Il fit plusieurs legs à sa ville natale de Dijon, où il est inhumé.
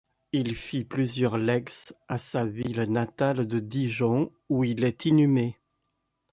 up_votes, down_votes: 0, 2